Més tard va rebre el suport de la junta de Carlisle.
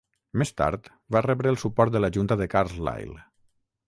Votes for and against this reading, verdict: 6, 0, accepted